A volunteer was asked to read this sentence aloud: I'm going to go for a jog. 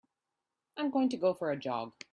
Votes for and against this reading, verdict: 2, 1, accepted